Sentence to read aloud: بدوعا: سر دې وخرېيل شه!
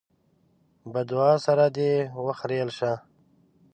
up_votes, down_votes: 1, 2